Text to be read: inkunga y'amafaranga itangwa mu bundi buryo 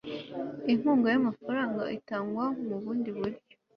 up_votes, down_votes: 3, 0